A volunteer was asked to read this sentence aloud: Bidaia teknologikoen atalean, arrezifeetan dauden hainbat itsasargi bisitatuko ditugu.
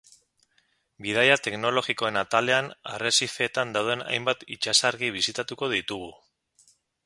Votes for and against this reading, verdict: 10, 0, accepted